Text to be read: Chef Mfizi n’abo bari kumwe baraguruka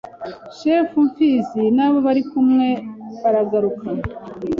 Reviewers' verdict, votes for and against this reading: rejected, 1, 2